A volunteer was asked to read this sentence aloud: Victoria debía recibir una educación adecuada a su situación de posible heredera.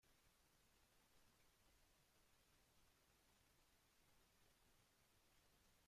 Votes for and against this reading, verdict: 0, 2, rejected